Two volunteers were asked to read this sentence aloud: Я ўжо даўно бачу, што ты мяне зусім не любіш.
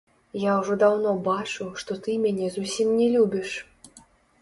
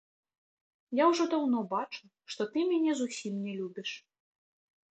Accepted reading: second